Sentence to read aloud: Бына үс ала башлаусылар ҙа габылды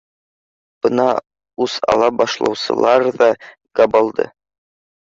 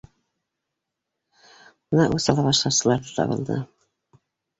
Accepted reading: first